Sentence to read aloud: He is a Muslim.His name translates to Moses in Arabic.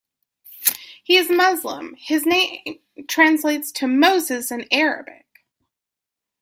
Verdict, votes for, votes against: accepted, 2, 0